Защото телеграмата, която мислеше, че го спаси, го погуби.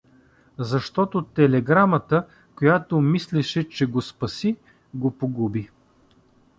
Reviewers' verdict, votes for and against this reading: accepted, 2, 0